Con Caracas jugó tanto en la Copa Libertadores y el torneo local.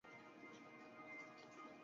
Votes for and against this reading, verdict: 2, 0, accepted